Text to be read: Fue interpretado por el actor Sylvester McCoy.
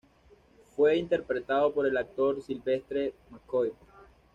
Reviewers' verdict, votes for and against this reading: rejected, 1, 2